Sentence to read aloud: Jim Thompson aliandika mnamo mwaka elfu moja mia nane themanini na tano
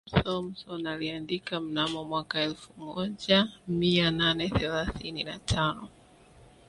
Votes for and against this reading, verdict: 0, 2, rejected